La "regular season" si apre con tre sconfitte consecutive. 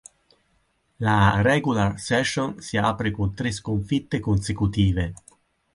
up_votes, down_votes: 2, 4